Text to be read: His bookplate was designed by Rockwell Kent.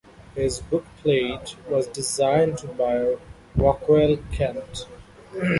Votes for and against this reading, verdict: 2, 0, accepted